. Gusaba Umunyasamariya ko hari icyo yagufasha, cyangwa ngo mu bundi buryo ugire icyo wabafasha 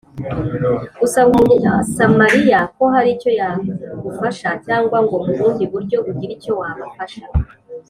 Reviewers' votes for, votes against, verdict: 2, 1, accepted